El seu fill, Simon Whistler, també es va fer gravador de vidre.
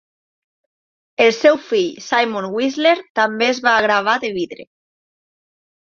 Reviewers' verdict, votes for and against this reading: rejected, 1, 2